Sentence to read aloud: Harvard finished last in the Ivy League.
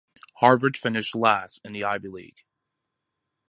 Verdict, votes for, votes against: accepted, 2, 0